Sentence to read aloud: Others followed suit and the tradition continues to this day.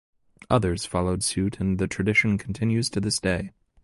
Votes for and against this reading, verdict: 2, 0, accepted